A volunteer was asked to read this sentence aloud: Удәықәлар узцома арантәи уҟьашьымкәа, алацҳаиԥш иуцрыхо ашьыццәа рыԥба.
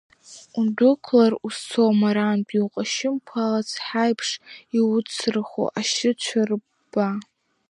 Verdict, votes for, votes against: accepted, 2, 1